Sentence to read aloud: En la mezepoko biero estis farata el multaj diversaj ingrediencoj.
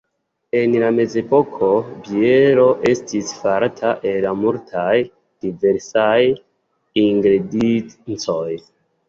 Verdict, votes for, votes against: accepted, 2, 1